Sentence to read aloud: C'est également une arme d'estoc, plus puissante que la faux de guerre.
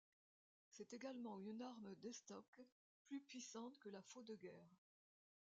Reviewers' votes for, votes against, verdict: 1, 2, rejected